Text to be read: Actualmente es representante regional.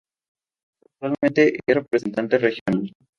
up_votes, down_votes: 0, 2